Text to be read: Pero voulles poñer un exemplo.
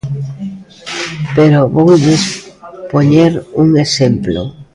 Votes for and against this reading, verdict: 0, 2, rejected